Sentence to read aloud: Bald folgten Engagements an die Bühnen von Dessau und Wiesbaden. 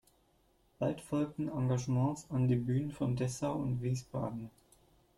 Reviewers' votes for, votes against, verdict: 1, 2, rejected